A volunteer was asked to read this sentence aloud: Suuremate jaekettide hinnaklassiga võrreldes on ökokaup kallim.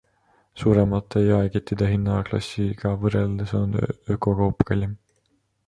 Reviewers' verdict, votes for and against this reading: accepted, 2, 1